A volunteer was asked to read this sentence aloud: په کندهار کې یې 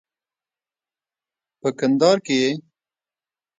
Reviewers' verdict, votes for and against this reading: accepted, 2, 0